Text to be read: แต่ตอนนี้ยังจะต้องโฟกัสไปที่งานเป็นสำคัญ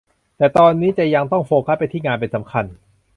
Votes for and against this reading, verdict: 0, 2, rejected